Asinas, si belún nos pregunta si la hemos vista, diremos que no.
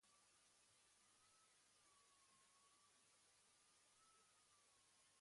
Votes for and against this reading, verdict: 1, 2, rejected